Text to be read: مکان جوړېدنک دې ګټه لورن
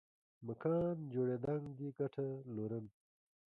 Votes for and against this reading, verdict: 1, 2, rejected